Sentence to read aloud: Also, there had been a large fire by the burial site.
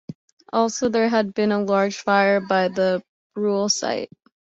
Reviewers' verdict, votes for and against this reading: rejected, 0, 2